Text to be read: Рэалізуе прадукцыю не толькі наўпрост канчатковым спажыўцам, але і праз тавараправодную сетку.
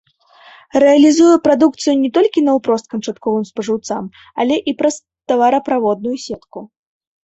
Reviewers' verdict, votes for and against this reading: accepted, 2, 1